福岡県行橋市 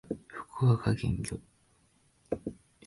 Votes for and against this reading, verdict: 0, 2, rejected